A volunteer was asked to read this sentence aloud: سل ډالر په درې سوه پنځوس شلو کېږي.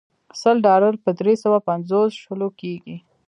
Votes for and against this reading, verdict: 1, 2, rejected